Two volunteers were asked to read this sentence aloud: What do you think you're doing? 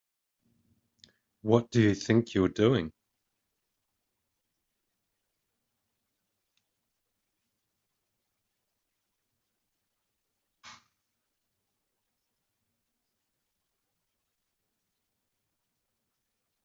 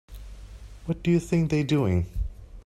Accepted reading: first